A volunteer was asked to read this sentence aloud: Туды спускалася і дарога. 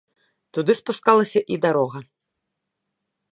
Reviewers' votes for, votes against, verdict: 2, 0, accepted